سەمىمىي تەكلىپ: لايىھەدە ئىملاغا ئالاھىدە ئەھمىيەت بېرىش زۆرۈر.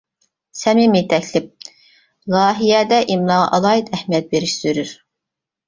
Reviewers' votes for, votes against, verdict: 0, 2, rejected